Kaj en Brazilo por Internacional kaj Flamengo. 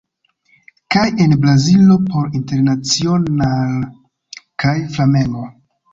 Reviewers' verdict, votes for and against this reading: rejected, 0, 2